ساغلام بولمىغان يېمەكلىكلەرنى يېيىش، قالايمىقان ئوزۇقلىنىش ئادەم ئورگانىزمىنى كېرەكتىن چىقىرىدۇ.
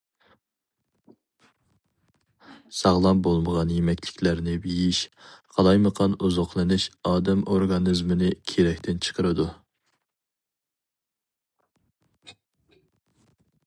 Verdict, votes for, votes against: accepted, 4, 0